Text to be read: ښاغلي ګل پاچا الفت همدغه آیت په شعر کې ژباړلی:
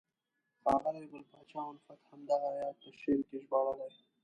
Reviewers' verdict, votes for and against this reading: rejected, 0, 2